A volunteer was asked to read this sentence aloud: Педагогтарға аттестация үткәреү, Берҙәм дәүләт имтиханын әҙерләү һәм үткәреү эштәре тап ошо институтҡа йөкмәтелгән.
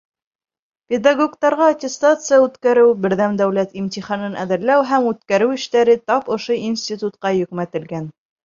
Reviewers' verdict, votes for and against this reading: accepted, 2, 0